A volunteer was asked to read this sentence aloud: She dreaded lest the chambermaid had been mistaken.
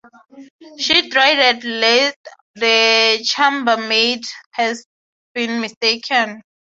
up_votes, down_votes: 3, 0